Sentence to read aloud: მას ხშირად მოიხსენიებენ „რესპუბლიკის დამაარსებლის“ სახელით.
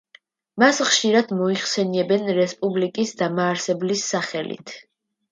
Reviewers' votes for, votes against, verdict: 2, 0, accepted